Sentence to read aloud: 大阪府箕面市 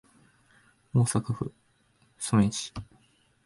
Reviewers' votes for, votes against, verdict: 0, 2, rejected